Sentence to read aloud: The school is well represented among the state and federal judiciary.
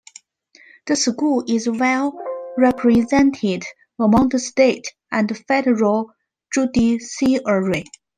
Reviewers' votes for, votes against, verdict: 2, 1, accepted